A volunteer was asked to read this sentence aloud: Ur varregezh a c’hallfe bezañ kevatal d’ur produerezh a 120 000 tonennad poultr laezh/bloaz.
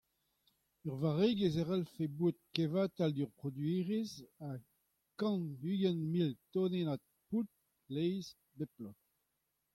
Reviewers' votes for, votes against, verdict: 0, 2, rejected